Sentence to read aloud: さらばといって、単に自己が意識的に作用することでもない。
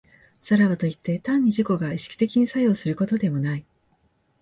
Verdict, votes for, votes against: accepted, 2, 0